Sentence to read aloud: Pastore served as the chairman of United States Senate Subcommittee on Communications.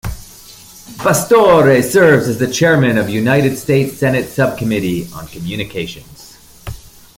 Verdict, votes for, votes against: rejected, 1, 2